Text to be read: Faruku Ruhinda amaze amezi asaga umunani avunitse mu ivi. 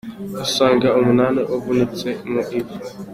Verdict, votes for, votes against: rejected, 1, 2